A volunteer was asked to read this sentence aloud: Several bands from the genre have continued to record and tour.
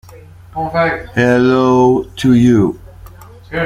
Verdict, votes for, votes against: rejected, 0, 2